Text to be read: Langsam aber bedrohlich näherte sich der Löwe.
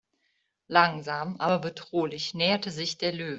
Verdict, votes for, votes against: rejected, 1, 2